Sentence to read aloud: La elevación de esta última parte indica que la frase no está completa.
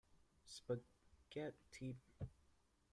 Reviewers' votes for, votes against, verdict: 1, 2, rejected